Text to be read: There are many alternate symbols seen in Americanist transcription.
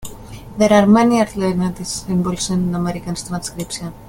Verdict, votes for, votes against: rejected, 0, 2